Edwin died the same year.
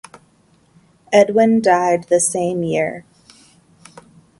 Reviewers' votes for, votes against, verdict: 0, 2, rejected